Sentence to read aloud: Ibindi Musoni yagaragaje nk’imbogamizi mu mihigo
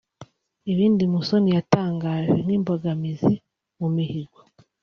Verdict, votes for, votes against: rejected, 0, 2